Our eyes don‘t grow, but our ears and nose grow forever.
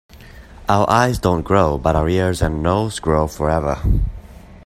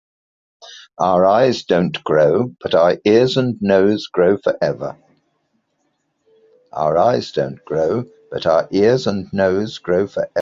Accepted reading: first